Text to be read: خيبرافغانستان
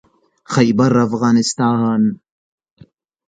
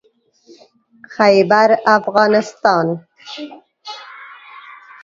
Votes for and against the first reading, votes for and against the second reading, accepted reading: 2, 0, 1, 2, first